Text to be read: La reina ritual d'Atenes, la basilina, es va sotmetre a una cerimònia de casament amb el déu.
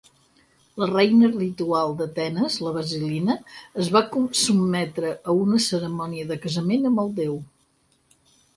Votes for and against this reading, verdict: 4, 0, accepted